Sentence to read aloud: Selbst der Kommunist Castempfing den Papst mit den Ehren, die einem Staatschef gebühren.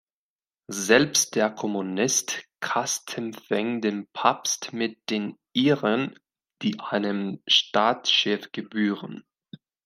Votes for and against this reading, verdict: 2, 1, accepted